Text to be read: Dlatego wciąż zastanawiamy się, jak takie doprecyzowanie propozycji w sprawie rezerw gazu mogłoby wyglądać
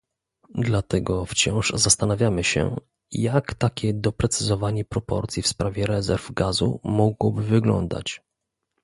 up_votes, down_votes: 0, 2